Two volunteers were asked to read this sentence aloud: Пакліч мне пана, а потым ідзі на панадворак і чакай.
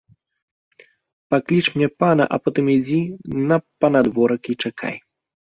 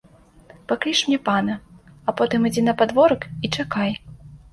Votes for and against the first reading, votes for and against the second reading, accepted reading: 2, 0, 1, 2, first